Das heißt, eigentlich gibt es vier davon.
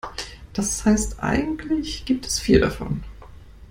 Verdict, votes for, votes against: accepted, 2, 0